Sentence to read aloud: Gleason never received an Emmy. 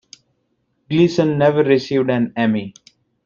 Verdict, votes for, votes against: accepted, 2, 0